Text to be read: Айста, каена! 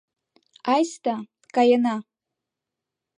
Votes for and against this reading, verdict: 1, 2, rejected